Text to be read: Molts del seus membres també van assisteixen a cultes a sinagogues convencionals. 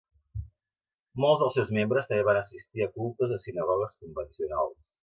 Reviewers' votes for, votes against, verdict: 1, 3, rejected